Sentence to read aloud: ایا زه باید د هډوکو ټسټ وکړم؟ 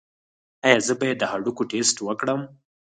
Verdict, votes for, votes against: accepted, 4, 0